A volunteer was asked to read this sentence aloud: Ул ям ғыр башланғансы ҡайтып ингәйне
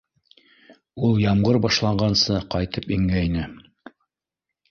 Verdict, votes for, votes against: rejected, 1, 2